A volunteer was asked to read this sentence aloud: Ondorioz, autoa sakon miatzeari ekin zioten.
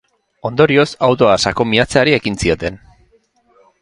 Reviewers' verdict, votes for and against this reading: accepted, 2, 0